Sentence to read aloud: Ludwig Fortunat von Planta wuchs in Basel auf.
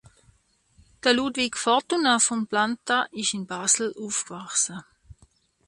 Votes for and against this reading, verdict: 0, 2, rejected